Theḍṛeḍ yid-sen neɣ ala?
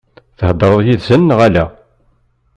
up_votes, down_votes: 2, 0